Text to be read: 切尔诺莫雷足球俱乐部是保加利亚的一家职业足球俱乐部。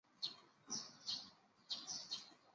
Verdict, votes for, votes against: rejected, 0, 3